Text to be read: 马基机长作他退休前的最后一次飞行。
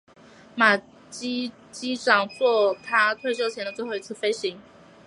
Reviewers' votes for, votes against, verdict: 2, 0, accepted